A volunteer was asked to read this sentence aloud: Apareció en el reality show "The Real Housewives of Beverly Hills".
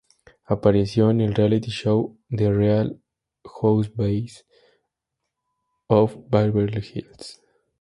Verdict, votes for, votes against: rejected, 0, 2